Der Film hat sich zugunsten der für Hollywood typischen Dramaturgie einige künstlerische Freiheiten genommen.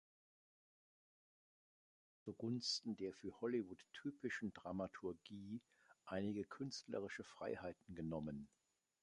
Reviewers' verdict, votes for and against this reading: rejected, 1, 3